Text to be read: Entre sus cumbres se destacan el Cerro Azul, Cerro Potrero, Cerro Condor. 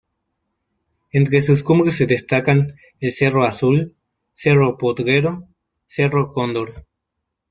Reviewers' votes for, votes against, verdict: 1, 2, rejected